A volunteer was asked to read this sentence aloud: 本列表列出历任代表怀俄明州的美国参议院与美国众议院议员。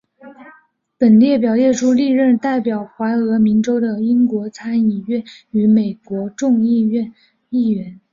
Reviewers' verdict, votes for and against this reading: accepted, 4, 2